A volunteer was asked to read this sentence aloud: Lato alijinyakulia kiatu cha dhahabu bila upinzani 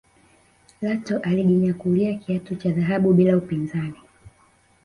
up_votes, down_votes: 1, 2